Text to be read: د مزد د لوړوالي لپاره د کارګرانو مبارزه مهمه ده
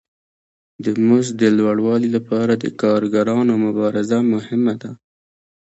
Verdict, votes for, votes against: accepted, 2, 1